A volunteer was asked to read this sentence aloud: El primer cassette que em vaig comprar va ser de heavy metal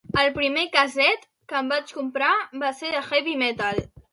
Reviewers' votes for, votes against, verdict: 2, 0, accepted